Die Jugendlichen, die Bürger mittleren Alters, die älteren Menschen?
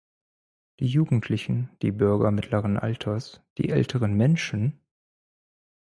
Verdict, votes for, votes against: accepted, 4, 0